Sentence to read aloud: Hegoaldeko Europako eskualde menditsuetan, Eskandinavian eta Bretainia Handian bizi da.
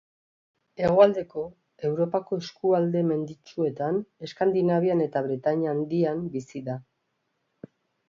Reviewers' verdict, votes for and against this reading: accepted, 2, 0